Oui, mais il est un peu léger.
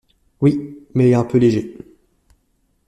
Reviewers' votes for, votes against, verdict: 1, 2, rejected